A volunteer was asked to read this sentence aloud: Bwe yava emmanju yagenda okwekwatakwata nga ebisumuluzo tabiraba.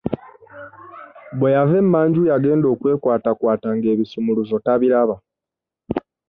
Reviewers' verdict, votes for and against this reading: accepted, 2, 1